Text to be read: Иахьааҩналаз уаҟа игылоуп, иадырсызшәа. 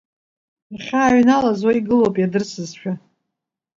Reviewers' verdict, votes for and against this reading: rejected, 0, 2